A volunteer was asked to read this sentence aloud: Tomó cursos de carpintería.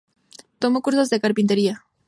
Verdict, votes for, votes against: accepted, 2, 0